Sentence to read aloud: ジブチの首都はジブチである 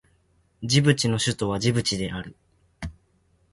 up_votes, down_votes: 2, 0